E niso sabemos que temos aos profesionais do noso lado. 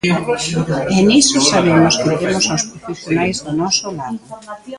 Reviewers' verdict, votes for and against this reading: rejected, 0, 2